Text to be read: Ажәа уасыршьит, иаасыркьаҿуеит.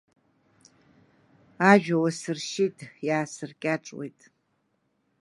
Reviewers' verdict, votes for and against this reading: rejected, 1, 2